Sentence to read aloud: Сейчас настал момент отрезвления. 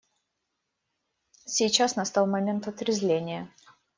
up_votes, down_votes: 2, 0